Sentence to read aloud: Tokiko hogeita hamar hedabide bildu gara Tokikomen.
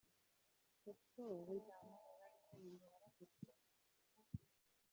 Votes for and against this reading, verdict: 1, 2, rejected